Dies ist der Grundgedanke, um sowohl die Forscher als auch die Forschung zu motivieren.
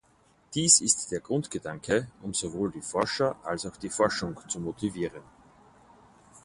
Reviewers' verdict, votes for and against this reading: accepted, 4, 0